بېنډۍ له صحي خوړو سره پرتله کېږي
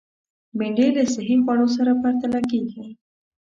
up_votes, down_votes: 2, 0